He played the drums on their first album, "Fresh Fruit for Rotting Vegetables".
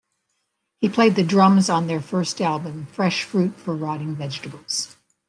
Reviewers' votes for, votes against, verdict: 2, 0, accepted